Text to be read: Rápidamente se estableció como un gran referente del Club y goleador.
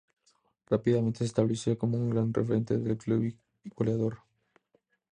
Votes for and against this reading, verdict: 2, 0, accepted